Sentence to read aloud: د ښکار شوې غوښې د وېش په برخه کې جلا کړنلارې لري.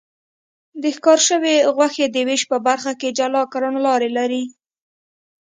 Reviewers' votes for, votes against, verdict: 2, 0, accepted